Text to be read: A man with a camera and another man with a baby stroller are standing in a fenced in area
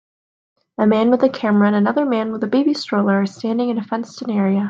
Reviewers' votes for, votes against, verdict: 2, 0, accepted